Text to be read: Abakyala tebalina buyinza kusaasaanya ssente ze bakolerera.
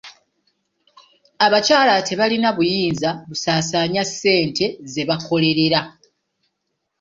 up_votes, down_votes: 1, 2